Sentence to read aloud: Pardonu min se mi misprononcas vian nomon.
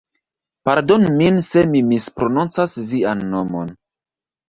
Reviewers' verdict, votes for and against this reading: accepted, 2, 1